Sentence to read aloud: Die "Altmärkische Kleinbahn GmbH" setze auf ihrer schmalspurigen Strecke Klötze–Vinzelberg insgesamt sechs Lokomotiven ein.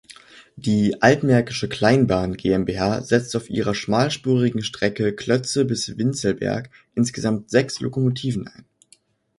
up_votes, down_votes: 1, 2